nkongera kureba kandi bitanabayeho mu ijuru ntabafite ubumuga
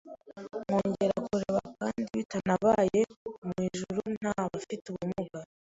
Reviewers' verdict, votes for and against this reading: accepted, 3, 1